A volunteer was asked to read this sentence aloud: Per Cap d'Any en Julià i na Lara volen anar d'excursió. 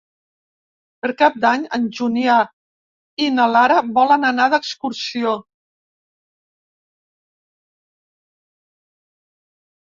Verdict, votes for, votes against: rejected, 1, 2